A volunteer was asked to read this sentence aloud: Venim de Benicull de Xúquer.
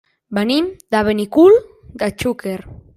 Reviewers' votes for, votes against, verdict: 0, 2, rejected